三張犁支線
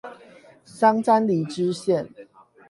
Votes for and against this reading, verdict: 4, 8, rejected